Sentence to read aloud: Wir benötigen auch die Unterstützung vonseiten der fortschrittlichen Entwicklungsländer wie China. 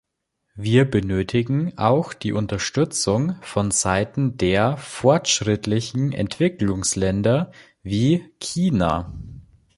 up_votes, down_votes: 2, 0